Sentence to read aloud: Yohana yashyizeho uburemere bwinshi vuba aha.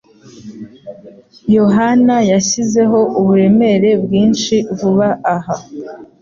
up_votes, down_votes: 2, 0